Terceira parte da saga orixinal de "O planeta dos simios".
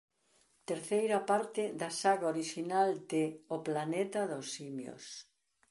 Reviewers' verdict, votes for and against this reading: accepted, 2, 0